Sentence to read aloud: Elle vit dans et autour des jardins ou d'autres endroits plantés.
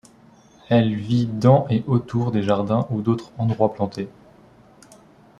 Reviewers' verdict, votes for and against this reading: accepted, 3, 0